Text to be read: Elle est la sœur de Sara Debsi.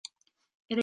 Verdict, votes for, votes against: rejected, 0, 2